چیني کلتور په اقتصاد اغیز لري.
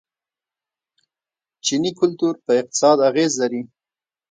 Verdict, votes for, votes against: rejected, 1, 2